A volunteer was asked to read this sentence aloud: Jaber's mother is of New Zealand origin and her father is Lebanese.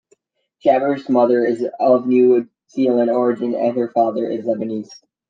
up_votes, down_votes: 2, 0